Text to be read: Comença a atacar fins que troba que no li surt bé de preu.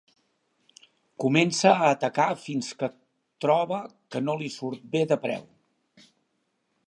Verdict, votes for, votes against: accepted, 3, 0